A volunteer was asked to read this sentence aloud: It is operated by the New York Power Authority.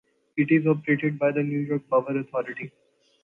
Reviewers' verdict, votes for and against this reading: accepted, 2, 0